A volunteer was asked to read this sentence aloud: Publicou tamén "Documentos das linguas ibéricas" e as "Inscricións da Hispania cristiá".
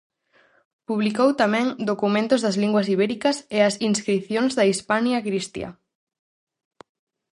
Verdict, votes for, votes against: rejected, 2, 2